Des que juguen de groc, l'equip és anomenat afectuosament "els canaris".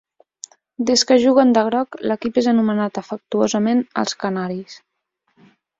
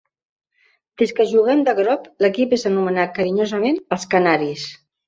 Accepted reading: first